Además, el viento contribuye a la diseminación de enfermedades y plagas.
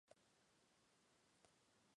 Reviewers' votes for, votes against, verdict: 0, 2, rejected